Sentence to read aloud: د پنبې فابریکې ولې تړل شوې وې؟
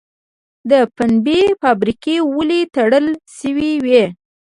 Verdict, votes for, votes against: rejected, 1, 2